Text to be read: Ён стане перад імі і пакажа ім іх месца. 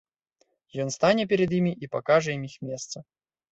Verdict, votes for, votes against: accepted, 2, 0